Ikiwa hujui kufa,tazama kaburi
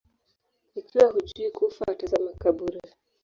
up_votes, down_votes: 1, 2